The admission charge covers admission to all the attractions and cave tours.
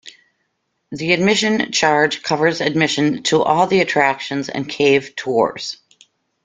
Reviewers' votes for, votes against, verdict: 2, 0, accepted